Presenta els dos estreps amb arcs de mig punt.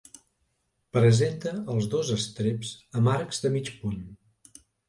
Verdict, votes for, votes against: accepted, 2, 0